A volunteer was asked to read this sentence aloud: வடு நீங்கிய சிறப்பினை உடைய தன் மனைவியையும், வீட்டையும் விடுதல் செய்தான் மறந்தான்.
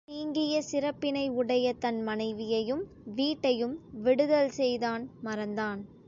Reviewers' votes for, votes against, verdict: 1, 2, rejected